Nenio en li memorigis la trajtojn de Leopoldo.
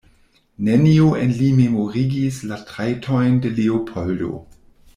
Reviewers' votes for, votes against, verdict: 1, 2, rejected